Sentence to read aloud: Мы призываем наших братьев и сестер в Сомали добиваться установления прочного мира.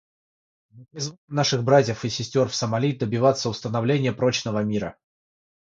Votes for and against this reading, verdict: 0, 3, rejected